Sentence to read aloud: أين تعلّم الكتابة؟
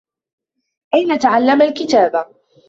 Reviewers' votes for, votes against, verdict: 2, 1, accepted